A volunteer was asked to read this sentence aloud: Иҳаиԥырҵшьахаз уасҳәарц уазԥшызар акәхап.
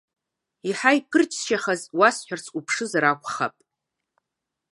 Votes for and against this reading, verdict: 1, 2, rejected